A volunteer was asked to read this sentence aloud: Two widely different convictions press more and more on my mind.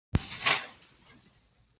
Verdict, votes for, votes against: rejected, 0, 2